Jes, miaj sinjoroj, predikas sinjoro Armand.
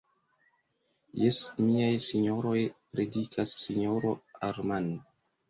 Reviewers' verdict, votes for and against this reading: accepted, 2, 1